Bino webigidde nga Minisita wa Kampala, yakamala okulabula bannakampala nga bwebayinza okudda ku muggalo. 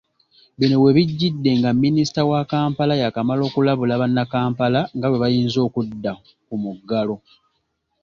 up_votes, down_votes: 2, 0